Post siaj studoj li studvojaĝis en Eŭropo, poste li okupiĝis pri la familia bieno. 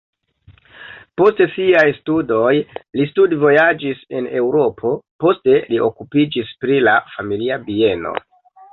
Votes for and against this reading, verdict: 0, 2, rejected